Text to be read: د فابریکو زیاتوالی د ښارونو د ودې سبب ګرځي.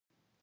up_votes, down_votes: 1, 2